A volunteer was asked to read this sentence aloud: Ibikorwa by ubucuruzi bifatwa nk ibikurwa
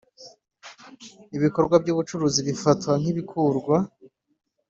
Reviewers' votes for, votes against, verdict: 2, 0, accepted